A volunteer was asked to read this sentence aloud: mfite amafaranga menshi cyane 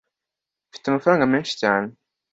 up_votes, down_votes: 2, 0